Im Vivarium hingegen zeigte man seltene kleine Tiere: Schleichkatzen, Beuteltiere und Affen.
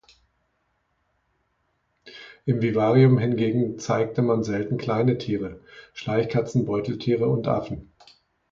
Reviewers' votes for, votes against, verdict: 0, 2, rejected